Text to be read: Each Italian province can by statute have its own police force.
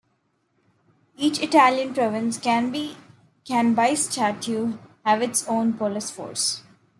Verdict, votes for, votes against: rejected, 1, 2